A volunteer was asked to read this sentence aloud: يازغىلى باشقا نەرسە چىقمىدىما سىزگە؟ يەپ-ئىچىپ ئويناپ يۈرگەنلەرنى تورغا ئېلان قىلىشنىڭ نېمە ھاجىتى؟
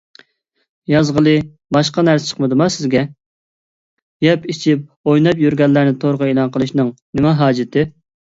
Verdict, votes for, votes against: accepted, 2, 0